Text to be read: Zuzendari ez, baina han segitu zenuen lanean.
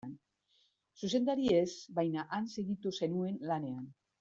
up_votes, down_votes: 2, 0